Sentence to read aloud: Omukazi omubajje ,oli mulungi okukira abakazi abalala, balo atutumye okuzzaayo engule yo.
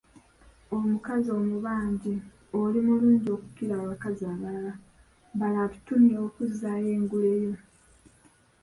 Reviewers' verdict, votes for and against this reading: rejected, 0, 2